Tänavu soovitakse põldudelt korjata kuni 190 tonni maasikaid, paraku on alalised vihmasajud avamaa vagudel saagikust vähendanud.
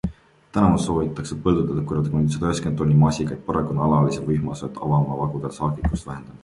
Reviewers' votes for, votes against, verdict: 0, 2, rejected